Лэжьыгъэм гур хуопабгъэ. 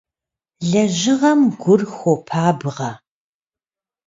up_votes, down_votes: 2, 0